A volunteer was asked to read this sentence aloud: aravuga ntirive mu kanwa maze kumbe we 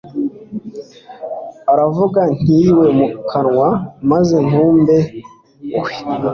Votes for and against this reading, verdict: 2, 0, accepted